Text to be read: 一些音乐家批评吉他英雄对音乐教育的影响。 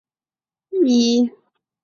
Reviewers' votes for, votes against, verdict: 0, 2, rejected